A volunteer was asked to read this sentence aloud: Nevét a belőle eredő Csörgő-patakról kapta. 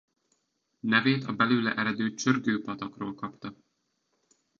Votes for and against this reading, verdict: 2, 0, accepted